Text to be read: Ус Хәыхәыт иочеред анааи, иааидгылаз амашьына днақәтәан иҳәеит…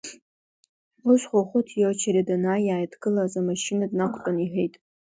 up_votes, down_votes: 2, 1